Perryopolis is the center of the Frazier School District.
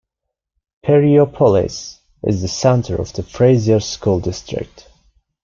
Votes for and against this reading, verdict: 2, 0, accepted